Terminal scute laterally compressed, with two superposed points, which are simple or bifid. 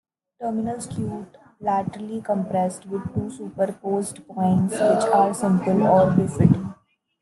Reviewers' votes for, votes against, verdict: 1, 2, rejected